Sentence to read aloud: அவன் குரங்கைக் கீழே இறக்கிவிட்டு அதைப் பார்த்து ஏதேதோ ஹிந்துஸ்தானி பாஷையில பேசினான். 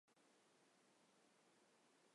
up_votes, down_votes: 0, 2